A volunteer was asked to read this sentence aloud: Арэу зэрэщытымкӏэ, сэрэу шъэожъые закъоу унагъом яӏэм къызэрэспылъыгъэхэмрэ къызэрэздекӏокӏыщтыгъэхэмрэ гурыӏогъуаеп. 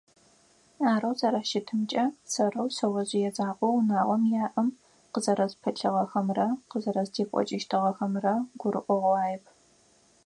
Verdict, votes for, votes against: accepted, 4, 0